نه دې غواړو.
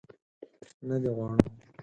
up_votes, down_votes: 4, 0